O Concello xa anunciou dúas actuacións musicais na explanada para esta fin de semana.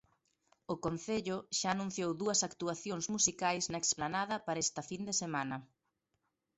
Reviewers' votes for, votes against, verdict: 2, 0, accepted